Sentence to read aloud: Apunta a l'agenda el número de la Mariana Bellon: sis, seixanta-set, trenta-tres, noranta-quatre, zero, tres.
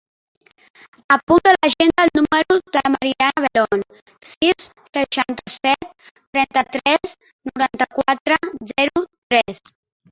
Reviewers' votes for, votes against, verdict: 1, 2, rejected